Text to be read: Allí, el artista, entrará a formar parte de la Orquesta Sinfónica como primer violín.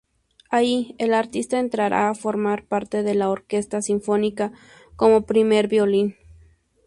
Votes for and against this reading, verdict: 2, 0, accepted